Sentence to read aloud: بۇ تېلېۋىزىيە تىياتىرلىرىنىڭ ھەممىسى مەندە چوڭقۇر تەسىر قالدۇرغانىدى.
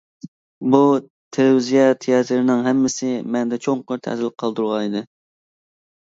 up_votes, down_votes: 0, 2